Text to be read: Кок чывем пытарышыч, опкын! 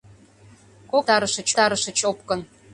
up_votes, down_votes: 0, 2